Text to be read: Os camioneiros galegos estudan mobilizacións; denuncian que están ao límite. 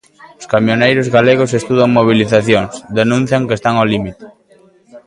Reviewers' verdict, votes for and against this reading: accepted, 2, 0